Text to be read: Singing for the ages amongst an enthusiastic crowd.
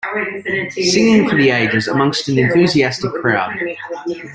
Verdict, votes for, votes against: accepted, 2, 0